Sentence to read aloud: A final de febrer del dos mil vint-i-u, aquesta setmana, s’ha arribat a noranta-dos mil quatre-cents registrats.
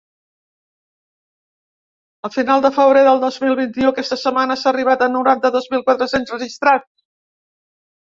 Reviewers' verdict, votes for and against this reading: rejected, 0, 2